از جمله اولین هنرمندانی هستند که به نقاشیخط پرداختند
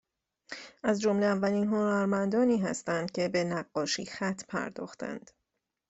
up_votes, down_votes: 0, 2